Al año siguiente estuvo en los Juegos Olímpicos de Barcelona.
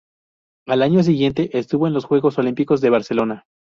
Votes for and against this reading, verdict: 2, 0, accepted